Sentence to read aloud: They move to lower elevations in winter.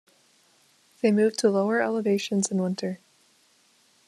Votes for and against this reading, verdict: 2, 0, accepted